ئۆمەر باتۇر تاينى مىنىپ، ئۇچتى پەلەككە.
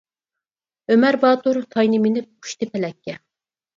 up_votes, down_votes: 0, 4